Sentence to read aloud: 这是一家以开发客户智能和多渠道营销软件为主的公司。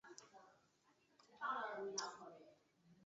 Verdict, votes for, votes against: rejected, 0, 2